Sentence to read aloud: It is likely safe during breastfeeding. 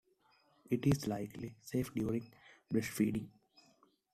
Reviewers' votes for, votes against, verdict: 2, 0, accepted